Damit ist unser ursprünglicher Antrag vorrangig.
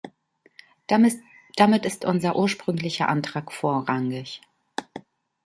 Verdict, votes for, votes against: rejected, 0, 2